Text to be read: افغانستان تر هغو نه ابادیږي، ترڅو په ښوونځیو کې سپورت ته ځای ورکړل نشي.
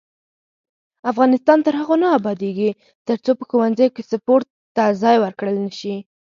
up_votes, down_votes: 4, 0